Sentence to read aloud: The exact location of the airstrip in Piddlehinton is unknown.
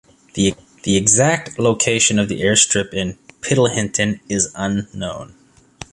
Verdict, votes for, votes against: rejected, 1, 2